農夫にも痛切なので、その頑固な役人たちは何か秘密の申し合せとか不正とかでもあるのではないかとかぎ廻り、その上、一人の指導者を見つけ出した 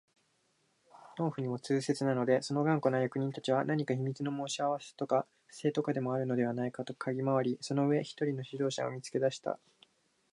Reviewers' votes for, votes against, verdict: 3, 0, accepted